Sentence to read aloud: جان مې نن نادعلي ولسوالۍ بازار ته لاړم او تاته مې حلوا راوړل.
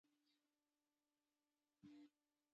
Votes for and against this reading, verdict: 0, 2, rejected